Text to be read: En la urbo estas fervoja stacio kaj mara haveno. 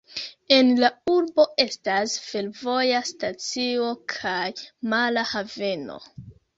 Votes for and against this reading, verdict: 1, 2, rejected